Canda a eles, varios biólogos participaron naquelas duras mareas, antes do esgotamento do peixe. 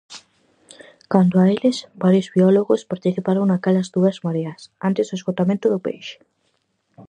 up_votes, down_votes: 2, 2